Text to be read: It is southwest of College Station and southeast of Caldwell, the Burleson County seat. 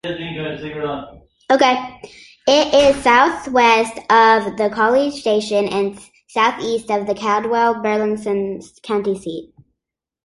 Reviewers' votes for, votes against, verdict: 0, 2, rejected